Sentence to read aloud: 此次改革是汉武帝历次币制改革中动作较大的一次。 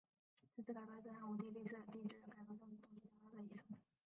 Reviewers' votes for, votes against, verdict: 0, 2, rejected